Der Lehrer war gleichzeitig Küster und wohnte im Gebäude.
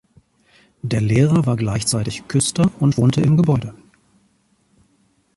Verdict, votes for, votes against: accepted, 2, 0